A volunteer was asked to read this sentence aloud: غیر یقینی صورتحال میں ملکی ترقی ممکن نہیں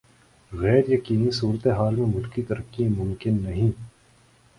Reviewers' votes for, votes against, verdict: 4, 0, accepted